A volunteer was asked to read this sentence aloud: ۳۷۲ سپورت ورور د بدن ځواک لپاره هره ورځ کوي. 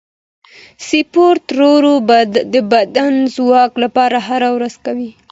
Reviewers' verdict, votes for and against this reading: rejected, 0, 2